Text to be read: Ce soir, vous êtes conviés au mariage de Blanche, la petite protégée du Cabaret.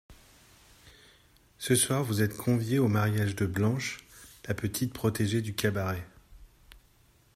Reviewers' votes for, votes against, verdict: 2, 0, accepted